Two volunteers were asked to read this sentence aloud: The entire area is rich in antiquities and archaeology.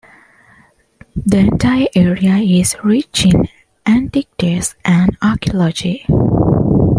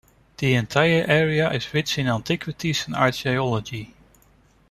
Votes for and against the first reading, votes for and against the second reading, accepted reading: 2, 1, 1, 2, first